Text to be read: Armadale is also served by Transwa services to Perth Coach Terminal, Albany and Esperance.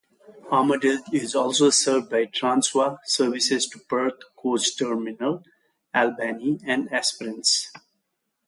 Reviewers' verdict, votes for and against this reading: accepted, 2, 0